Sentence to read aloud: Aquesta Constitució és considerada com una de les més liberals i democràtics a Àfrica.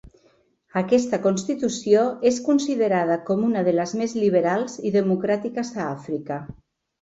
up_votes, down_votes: 1, 2